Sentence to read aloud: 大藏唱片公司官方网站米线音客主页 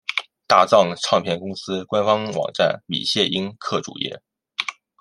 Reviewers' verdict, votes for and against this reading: accepted, 2, 1